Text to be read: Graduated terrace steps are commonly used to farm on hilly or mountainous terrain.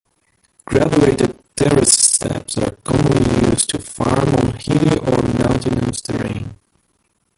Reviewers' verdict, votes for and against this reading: rejected, 1, 2